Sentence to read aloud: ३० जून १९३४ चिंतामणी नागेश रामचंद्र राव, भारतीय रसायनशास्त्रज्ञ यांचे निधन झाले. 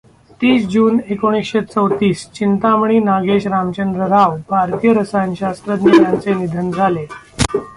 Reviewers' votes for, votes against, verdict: 0, 2, rejected